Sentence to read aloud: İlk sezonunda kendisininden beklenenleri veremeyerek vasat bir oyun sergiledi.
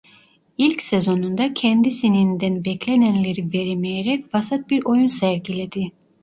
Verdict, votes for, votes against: rejected, 1, 2